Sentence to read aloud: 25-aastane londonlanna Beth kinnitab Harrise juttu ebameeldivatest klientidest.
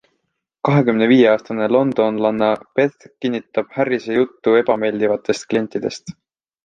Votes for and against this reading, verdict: 0, 2, rejected